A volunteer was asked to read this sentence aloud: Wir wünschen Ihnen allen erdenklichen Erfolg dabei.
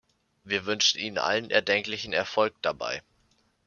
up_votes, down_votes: 2, 0